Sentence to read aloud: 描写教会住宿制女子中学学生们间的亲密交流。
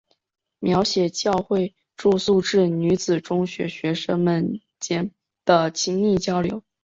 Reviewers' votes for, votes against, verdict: 2, 0, accepted